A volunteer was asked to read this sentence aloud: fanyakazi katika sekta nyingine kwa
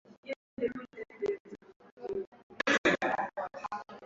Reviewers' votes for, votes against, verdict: 1, 10, rejected